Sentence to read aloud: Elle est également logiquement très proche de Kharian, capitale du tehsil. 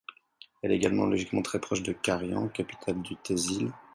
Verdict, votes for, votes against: accepted, 4, 0